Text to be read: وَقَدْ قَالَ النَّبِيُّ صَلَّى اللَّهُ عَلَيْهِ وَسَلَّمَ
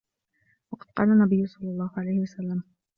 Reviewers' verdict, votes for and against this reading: accepted, 2, 0